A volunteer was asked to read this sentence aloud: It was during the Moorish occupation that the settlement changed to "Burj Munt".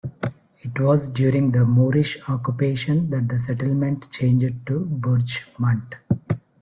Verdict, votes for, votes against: rejected, 1, 2